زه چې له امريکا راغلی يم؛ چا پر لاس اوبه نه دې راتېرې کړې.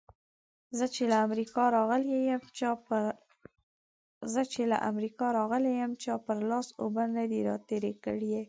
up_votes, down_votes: 1, 2